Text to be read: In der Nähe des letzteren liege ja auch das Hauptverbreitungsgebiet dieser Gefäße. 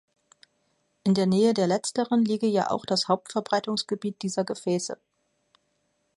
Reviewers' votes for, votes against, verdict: 1, 2, rejected